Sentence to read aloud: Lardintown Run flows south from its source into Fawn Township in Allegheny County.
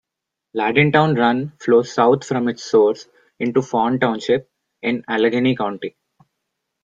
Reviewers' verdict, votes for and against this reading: accepted, 2, 0